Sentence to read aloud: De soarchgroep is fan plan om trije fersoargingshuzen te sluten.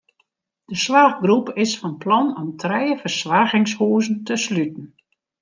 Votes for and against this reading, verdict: 1, 2, rejected